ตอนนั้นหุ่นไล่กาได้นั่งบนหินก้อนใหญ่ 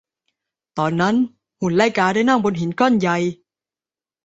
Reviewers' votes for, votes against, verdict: 2, 0, accepted